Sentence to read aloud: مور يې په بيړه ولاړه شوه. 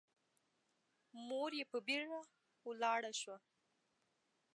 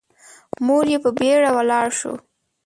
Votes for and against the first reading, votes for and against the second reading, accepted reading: 2, 0, 3, 4, first